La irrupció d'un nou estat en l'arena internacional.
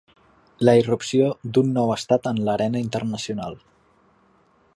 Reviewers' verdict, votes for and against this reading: accepted, 4, 0